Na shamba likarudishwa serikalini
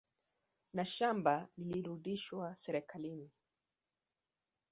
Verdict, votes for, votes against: rejected, 1, 2